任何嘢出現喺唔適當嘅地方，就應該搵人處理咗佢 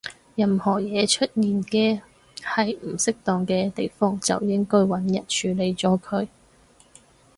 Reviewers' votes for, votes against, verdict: 0, 4, rejected